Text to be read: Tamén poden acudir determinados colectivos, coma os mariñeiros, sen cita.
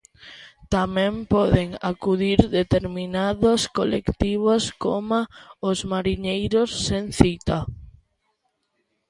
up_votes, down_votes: 0, 2